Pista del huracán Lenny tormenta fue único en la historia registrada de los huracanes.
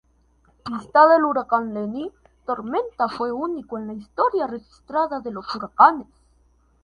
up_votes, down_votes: 0, 2